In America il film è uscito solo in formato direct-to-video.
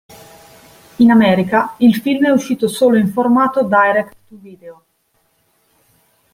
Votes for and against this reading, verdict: 2, 1, accepted